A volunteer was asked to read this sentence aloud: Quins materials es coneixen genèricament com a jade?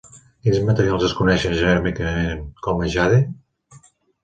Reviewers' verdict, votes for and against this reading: rejected, 0, 2